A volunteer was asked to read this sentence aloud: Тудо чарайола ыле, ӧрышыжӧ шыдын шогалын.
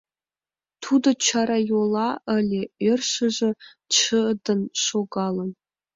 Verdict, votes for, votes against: rejected, 0, 2